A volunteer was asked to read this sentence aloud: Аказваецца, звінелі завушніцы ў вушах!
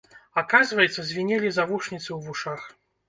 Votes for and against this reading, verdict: 0, 2, rejected